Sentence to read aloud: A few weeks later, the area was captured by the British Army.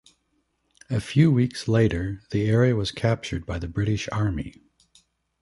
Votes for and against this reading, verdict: 2, 0, accepted